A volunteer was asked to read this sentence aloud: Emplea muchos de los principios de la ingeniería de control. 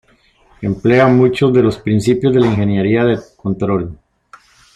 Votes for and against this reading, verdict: 2, 0, accepted